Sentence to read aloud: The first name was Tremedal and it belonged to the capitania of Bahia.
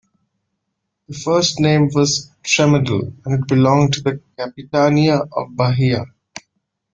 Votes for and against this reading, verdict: 2, 0, accepted